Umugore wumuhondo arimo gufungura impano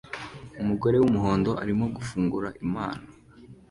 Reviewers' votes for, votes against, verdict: 2, 0, accepted